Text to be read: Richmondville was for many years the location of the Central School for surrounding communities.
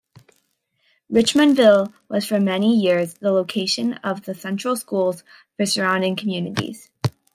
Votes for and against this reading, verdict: 3, 0, accepted